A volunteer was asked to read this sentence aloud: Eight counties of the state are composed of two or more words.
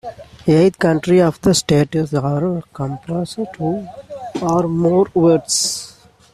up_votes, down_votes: 0, 2